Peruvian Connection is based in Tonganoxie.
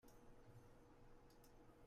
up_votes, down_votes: 0, 2